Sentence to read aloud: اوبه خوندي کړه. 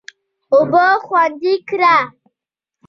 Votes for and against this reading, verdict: 1, 2, rejected